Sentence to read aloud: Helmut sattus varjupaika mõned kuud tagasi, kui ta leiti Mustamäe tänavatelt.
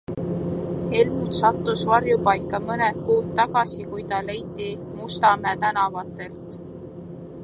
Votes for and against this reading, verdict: 2, 0, accepted